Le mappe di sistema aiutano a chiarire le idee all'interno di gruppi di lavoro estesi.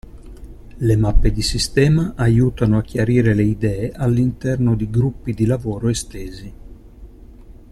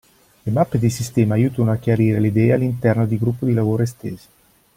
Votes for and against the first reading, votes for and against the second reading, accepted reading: 2, 0, 0, 2, first